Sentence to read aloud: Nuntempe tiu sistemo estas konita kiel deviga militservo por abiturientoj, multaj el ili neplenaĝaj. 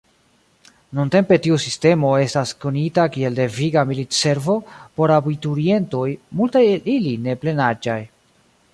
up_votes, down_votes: 2, 0